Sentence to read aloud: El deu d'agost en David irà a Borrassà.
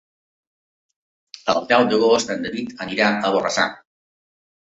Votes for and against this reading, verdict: 1, 2, rejected